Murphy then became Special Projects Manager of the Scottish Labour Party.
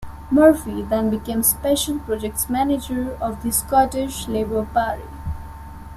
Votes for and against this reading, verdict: 2, 0, accepted